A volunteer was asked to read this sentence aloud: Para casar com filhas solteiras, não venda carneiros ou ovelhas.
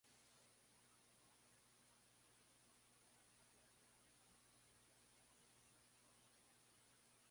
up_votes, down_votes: 0, 2